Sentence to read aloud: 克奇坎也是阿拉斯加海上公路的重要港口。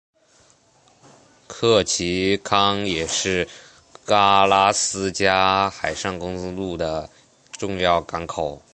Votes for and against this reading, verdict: 2, 0, accepted